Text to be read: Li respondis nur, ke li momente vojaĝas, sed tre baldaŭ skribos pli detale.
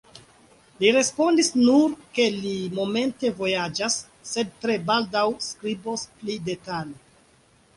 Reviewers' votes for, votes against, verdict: 2, 0, accepted